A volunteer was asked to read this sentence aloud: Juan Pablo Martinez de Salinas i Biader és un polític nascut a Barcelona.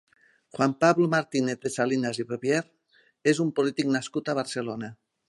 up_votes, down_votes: 0, 2